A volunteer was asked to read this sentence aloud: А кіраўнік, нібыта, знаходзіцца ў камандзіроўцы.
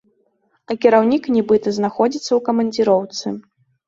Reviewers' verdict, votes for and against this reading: accepted, 2, 0